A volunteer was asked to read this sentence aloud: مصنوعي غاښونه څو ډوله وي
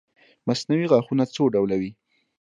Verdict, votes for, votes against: accepted, 2, 0